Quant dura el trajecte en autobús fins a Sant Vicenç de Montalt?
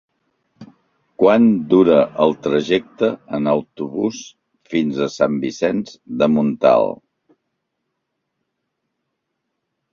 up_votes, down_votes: 4, 0